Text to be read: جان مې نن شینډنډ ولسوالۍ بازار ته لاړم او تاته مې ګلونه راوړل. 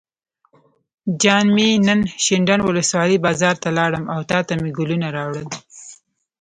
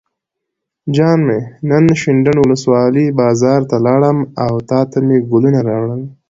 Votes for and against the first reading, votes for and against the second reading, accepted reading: 1, 2, 2, 0, second